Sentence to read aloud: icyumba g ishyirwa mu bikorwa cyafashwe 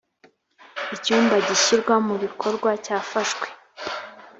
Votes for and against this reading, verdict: 3, 0, accepted